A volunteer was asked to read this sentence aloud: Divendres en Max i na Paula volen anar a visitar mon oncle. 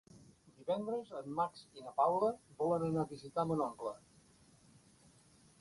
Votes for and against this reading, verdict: 3, 0, accepted